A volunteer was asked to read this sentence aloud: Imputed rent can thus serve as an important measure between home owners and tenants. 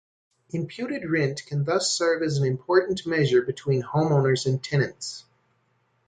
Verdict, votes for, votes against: accepted, 2, 0